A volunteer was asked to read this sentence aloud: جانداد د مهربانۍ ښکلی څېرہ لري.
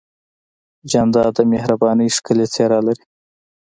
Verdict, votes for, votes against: accepted, 2, 0